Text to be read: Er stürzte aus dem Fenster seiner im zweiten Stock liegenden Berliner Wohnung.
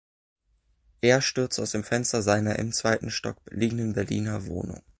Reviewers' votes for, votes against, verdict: 1, 2, rejected